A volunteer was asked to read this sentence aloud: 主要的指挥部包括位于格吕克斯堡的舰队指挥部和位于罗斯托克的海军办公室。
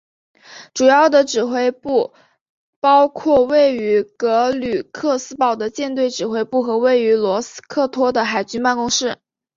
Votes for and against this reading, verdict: 2, 1, accepted